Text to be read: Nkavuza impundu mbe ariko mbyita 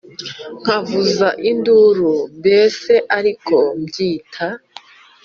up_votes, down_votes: 1, 2